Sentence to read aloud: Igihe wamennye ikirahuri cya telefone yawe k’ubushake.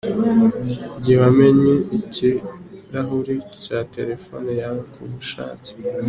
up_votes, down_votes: 2, 0